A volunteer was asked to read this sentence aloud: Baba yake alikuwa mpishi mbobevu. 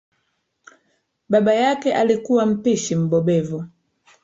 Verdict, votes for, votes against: rejected, 1, 2